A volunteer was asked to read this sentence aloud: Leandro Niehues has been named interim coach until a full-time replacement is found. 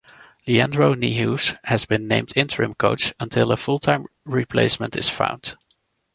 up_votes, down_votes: 2, 0